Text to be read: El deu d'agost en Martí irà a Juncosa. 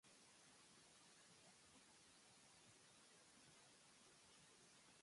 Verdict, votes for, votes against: rejected, 1, 2